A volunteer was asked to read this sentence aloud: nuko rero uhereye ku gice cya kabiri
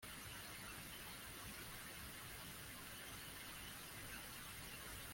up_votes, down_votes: 1, 3